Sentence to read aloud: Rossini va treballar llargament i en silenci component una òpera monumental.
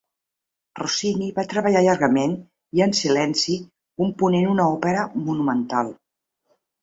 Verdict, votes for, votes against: accepted, 2, 0